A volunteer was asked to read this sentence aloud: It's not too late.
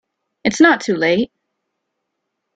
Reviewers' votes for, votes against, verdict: 2, 0, accepted